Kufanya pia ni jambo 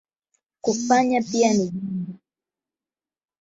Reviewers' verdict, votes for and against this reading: rejected, 0, 8